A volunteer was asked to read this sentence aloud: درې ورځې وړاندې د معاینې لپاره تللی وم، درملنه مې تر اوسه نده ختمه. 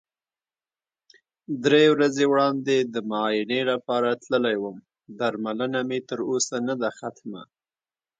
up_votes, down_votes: 1, 2